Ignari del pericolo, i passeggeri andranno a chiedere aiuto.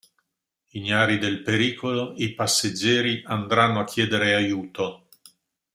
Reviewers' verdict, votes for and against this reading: accepted, 2, 0